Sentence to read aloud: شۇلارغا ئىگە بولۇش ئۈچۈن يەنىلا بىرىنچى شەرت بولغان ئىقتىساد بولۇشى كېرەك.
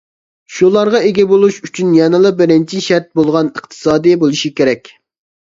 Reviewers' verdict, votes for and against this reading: rejected, 0, 2